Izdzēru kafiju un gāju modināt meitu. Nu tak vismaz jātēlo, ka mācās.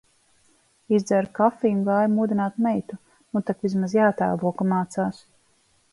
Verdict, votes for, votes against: accepted, 2, 0